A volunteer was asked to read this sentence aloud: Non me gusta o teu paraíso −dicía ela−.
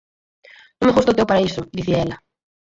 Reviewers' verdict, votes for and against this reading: rejected, 2, 4